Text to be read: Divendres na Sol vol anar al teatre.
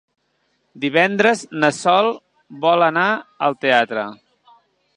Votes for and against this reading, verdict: 3, 0, accepted